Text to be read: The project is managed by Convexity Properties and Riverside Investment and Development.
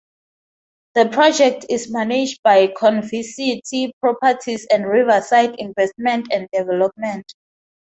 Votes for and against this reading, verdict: 0, 2, rejected